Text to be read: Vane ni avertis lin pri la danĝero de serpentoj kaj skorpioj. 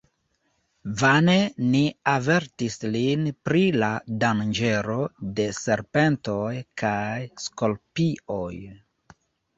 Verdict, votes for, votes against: rejected, 0, 2